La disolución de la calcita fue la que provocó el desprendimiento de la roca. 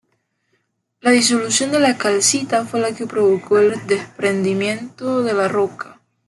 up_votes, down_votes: 2, 1